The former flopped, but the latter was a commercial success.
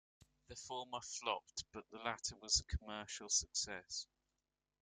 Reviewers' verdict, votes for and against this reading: accepted, 2, 0